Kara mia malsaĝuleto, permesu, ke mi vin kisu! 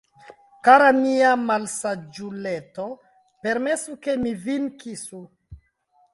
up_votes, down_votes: 0, 2